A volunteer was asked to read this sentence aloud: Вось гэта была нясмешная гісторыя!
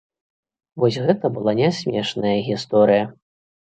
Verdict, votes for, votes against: accepted, 2, 0